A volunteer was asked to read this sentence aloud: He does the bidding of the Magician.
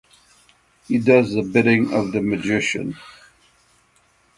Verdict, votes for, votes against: accepted, 6, 0